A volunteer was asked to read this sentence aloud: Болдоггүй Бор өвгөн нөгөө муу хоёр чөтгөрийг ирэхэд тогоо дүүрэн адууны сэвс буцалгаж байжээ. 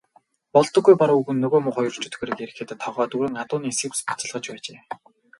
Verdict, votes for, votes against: accepted, 4, 0